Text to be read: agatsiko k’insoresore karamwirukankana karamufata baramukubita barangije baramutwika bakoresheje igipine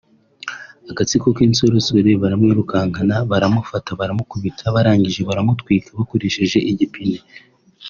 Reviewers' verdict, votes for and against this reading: rejected, 1, 3